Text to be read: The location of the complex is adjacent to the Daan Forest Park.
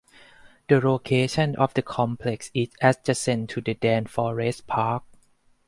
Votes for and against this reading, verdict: 4, 0, accepted